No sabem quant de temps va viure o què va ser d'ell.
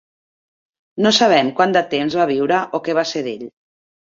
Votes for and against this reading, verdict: 2, 0, accepted